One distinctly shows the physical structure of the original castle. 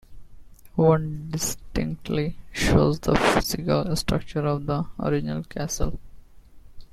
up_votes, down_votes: 2, 0